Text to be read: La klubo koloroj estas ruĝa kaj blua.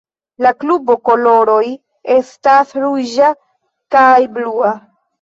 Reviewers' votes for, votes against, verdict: 2, 0, accepted